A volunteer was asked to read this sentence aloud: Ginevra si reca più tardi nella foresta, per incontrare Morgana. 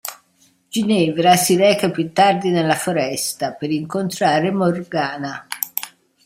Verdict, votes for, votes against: accepted, 2, 0